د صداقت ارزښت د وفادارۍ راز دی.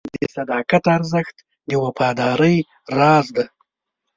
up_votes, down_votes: 1, 2